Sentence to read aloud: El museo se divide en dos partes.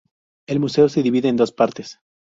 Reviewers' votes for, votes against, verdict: 2, 0, accepted